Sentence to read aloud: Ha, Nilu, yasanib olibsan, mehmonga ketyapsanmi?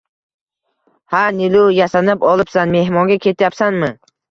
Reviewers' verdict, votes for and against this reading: accepted, 2, 0